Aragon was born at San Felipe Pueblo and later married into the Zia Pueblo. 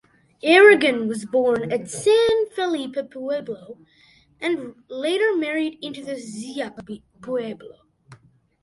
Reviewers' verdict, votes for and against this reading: rejected, 0, 2